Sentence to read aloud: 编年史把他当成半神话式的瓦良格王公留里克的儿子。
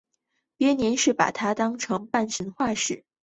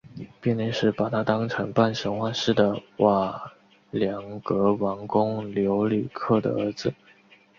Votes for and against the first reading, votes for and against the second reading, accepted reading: 0, 2, 2, 1, second